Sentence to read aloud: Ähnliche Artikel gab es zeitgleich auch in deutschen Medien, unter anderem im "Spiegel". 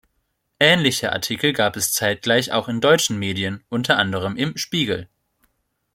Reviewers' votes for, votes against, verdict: 3, 0, accepted